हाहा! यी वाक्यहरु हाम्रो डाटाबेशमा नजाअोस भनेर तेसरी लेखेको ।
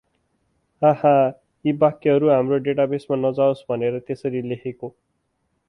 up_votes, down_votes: 4, 0